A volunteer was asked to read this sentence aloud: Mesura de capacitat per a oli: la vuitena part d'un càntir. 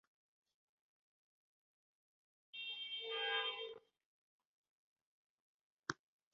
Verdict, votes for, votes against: rejected, 0, 2